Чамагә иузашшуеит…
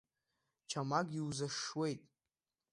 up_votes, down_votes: 0, 2